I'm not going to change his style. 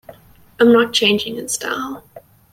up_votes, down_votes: 1, 2